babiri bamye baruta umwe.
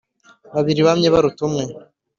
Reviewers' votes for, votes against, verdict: 2, 0, accepted